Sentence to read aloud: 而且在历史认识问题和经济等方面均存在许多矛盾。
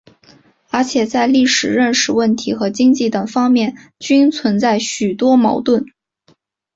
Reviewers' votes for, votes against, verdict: 2, 0, accepted